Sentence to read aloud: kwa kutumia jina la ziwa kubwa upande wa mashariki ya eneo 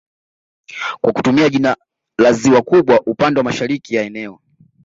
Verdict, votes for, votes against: accepted, 2, 1